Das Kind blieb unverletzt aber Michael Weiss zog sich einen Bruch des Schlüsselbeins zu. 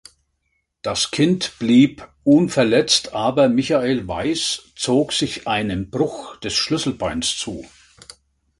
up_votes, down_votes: 2, 0